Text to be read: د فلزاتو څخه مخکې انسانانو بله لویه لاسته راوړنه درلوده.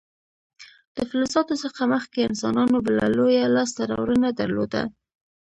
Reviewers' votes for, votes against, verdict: 2, 0, accepted